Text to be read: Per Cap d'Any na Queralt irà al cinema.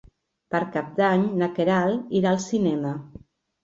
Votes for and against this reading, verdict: 2, 0, accepted